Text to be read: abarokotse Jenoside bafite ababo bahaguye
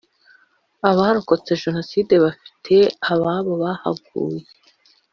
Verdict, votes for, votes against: accepted, 2, 0